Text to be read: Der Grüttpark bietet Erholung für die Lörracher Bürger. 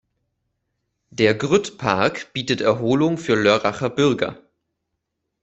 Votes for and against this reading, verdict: 0, 2, rejected